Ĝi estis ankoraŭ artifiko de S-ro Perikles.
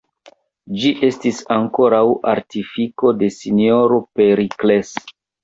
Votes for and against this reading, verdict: 1, 2, rejected